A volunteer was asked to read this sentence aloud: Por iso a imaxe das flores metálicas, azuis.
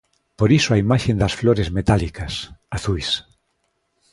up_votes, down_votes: 0, 2